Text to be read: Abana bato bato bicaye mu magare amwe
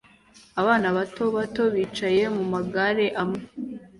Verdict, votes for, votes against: accepted, 2, 0